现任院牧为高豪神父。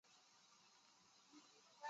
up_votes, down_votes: 0, 3